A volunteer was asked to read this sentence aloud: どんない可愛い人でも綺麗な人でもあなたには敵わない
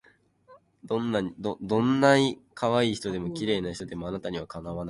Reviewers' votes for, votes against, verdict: 2, 2, rejected